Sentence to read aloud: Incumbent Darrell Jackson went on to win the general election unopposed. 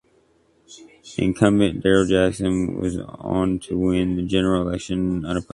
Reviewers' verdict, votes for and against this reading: rejected, 1, 2